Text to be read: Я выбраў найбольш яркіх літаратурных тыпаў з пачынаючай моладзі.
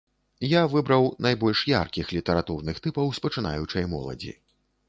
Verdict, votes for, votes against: accepted, 2, 0